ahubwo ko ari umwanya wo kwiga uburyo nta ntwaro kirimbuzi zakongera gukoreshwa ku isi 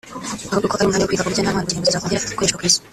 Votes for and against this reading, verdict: 1, 3, rejected